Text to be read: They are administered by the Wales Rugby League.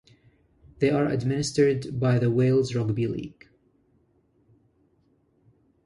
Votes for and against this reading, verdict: 2, 0, accepted